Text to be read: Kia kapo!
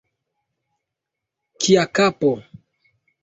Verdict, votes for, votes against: accepted, 2, 0